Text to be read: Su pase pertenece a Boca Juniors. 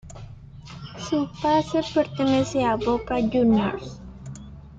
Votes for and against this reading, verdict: 2, 0, accepted